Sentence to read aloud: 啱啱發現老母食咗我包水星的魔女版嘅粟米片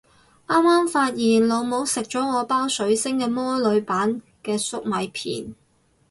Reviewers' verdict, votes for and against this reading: rejected, 4, 4